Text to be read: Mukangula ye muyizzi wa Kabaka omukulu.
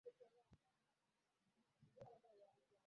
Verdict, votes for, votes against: rejected, 0, 2